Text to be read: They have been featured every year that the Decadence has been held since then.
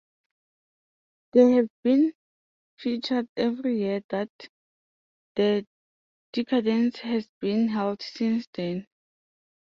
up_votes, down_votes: 2, 0